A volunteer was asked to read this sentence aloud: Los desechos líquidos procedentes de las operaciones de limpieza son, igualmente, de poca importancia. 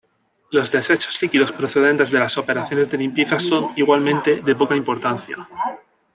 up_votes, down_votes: 2, 2